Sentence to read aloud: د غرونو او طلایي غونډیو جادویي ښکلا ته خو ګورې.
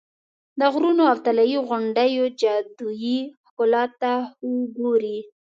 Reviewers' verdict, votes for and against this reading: accepted, 2, 0